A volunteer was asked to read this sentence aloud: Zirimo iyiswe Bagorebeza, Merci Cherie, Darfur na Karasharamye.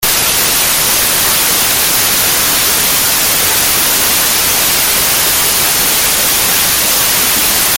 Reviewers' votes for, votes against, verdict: 0, 2, rejected